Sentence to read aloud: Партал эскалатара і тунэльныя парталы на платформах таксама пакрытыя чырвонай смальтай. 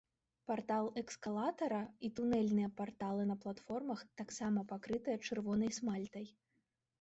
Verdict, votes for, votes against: rejected, 1, 2